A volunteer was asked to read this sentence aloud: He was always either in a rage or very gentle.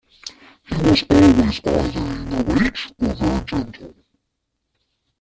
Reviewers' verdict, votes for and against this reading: rejected, 0, 2